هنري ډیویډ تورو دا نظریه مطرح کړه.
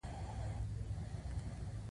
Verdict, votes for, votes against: accepted, 2, 0